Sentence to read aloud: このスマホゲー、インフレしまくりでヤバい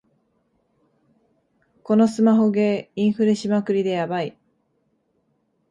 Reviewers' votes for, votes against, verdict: 2, 0, accepted